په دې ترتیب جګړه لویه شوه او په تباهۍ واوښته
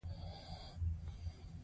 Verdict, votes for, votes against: accepted, 2, 0